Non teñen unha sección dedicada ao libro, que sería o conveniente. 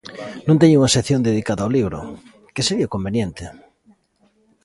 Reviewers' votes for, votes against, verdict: 2, 0, accepted